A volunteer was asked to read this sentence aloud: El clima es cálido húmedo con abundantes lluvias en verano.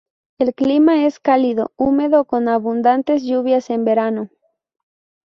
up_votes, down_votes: 0, 2